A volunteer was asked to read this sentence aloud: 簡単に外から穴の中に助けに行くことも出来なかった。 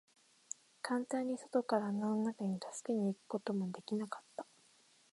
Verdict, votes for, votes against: accepted, 2, 0